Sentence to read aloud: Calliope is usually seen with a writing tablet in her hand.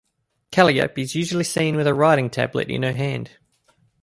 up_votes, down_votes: 2, 0